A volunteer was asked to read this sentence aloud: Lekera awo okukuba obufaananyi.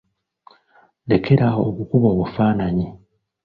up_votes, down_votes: 2, 0